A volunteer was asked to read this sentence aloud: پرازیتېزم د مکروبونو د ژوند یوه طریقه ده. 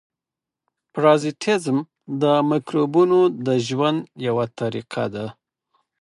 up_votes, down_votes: 4, 0